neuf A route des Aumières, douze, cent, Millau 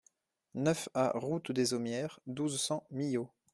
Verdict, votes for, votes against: accepted, 2, 0